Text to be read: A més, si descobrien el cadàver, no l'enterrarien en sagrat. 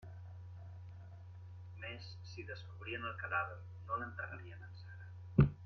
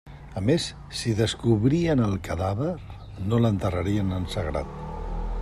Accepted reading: second